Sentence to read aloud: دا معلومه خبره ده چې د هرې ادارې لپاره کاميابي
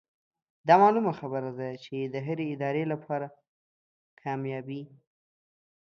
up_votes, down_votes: 3, 0